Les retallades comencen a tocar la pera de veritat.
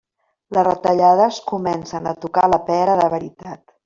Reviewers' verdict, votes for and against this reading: accepted, 3, 0